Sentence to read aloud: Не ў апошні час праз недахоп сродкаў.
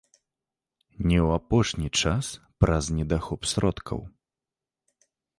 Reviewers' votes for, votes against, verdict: 2, 0, accepted